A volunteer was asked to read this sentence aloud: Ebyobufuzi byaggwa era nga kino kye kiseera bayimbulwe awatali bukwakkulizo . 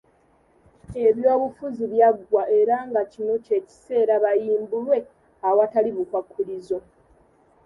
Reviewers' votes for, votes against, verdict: 2, 0, accepted